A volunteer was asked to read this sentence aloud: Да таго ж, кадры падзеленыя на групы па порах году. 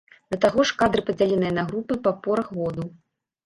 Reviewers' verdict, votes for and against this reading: accepted, 2, 0